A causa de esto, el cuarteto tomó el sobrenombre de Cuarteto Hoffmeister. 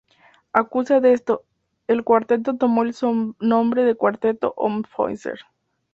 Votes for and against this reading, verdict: 0, 2, rejected